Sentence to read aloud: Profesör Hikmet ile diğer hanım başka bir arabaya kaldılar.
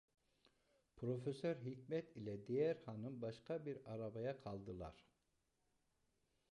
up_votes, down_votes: 1, 2